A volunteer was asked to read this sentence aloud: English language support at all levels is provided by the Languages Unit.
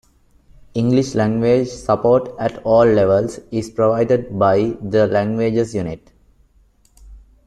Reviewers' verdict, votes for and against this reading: accepted, 2, 0